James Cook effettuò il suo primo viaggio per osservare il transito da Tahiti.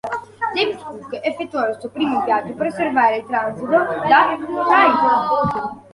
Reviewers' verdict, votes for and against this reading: rejected, 1, 2